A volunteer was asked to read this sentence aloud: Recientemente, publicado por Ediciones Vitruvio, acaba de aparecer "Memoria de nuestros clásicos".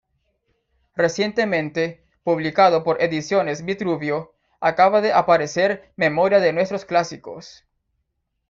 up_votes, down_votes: 2, 0